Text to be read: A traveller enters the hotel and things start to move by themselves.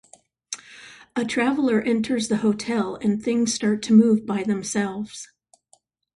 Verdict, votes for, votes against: accepted, 2, 0